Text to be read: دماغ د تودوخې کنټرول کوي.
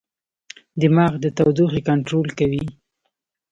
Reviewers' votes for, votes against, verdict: 2, 0, accepted